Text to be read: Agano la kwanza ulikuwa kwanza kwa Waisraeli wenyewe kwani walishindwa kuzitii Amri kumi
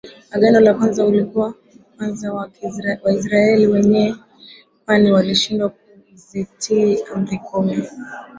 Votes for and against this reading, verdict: 0, 2, rejected